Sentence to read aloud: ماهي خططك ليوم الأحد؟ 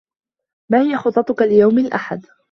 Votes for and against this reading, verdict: 2, 1, accepted